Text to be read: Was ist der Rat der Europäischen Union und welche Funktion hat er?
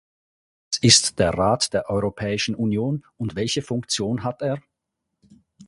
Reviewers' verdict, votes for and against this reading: rejected, 2, 4